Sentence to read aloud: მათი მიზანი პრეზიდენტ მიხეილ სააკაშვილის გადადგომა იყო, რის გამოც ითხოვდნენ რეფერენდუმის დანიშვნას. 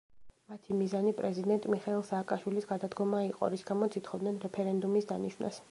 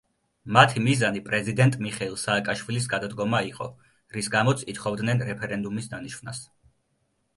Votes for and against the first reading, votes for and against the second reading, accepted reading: 1, 2, 2, 0, second